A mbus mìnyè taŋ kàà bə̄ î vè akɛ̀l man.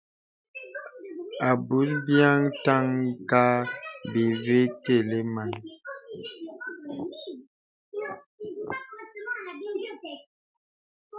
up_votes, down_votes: 0, 2